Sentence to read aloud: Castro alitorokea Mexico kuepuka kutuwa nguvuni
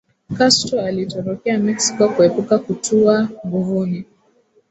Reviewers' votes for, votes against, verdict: 2, 1, accepted